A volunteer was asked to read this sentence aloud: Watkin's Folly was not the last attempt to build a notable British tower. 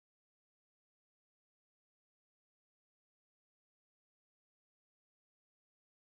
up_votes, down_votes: 0, 2